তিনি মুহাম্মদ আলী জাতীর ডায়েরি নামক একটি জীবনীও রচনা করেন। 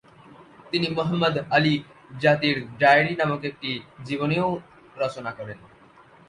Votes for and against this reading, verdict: 1, 2, rejected